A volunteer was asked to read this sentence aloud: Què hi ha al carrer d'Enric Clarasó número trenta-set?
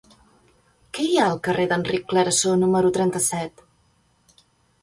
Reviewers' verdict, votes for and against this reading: accepted, 2, 0